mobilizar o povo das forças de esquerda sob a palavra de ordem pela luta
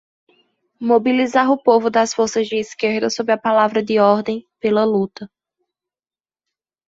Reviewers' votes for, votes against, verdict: 2, 0, accepted